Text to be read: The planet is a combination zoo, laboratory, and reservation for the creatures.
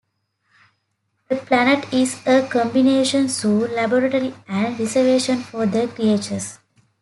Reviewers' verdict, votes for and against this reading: accepted, 2, 0